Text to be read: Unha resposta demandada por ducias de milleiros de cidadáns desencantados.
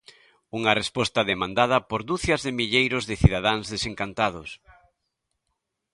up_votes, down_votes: 2, 0